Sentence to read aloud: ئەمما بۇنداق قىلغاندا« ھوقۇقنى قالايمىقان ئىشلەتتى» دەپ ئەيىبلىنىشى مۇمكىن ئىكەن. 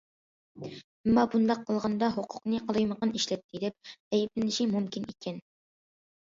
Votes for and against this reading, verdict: 2, 0, accepted